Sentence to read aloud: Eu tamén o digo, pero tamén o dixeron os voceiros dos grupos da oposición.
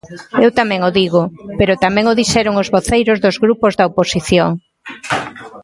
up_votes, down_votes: 0, 2